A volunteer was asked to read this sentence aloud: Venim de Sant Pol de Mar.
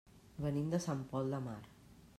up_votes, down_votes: 3, 0